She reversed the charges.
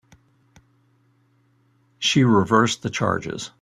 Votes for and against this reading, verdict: 2, 1, accepted